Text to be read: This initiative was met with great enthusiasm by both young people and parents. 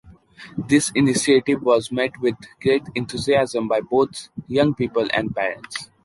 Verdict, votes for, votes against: accepted, 2, 0